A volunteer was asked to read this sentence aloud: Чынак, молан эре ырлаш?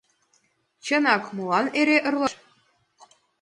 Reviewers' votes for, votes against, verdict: 1, 2, rejected